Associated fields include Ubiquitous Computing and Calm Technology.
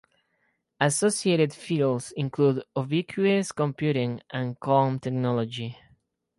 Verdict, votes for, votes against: rejected, 0, 4